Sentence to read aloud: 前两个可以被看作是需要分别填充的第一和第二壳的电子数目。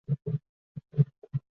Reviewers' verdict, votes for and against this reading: rejected, 0, 5